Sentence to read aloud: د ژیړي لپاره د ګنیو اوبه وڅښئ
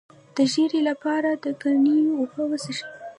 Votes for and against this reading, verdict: 1, 2, rejected